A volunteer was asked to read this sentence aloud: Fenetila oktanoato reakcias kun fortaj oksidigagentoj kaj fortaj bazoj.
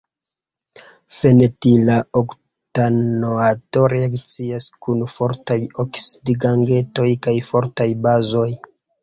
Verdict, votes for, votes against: rejected, 1, 2